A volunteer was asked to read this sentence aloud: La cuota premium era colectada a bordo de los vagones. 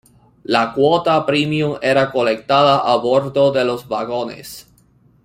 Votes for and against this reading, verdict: 3, 0, accepted